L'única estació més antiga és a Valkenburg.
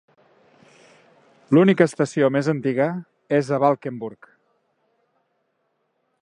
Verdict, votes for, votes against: accepted, 3, 0